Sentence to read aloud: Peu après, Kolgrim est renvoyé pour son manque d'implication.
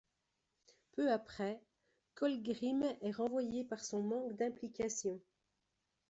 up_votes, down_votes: 1, 2